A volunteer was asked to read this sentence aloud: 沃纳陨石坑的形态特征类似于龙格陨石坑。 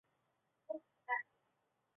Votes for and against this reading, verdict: 0, 2, rejected